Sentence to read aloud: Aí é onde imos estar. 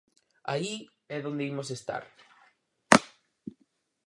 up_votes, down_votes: 0, 6